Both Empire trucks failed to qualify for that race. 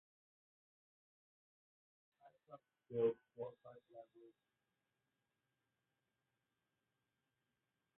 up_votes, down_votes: 0, 2